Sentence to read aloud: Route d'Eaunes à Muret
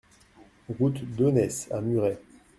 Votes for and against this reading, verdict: 1, 2, rejected